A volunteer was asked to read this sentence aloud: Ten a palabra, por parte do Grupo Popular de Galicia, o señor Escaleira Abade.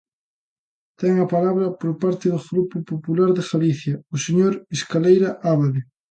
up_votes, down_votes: 1, 2